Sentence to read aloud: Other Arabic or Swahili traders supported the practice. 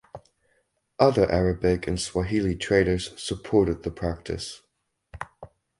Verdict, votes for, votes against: rejected, 2, 2